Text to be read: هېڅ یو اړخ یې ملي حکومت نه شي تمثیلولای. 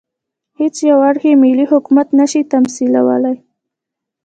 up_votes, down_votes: 1, 2